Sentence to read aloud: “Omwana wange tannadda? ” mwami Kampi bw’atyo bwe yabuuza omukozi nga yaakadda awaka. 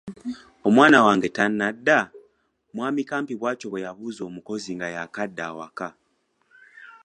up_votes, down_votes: 3, 0